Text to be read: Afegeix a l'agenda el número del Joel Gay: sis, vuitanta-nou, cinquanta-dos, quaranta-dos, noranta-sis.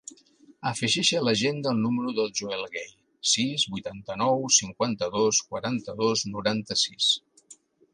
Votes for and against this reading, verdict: 2, 0, accepted